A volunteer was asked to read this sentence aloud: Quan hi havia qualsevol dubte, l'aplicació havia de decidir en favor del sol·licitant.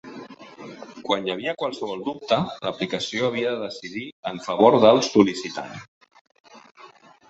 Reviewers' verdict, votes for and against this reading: accepted, 2, 0